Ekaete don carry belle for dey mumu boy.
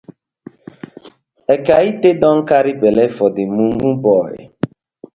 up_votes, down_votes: 2, 0